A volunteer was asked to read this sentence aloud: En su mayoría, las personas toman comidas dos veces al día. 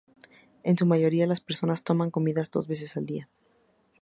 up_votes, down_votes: 2, 0